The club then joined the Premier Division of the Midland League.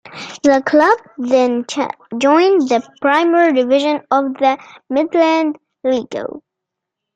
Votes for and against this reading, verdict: 0, 2, rejected